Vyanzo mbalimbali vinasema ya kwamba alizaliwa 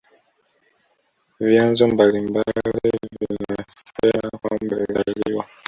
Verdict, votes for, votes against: rejected, 1, 2